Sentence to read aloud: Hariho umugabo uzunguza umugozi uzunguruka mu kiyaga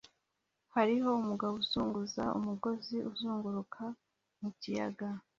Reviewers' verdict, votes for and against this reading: accepted, 2, 0